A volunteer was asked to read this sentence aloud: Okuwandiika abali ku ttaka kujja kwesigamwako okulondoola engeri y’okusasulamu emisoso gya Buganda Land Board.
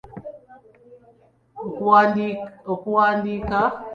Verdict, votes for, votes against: rejected, 0, 2